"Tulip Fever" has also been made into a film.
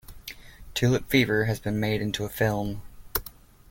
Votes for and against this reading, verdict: 0, 2, rejected